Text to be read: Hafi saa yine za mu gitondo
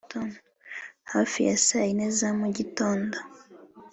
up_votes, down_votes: 3, 0